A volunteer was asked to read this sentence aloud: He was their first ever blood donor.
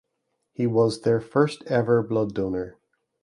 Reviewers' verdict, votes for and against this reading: accepted, 2, 0